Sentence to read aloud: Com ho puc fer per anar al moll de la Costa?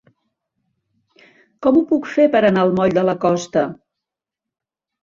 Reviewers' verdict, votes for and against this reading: accepted, 2, 0